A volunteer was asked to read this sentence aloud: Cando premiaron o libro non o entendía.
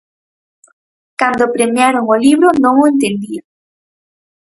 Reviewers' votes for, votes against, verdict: 4, 0, accepted